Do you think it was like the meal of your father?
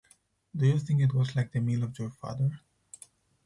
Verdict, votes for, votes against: accepted, 4, 0